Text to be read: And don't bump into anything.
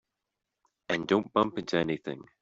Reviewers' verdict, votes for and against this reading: accepted, 2, 0